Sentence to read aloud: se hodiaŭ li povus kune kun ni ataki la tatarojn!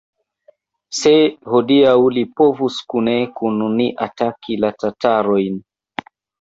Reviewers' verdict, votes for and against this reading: accepted, 2, 0